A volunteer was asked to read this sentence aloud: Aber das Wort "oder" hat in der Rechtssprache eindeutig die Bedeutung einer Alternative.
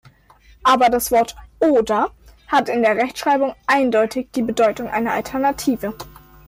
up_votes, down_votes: 0, 2